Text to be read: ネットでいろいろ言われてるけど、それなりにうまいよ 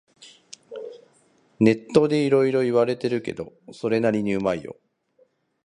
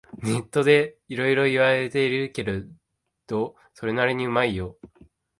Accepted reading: first